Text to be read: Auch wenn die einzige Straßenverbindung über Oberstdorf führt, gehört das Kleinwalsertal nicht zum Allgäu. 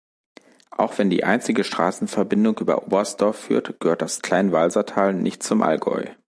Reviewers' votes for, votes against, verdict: 2, 0, accepted